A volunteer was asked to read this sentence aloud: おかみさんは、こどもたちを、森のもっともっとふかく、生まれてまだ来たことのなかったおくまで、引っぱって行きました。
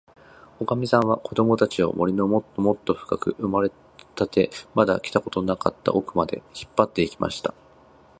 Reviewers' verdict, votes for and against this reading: rejected, 1, 2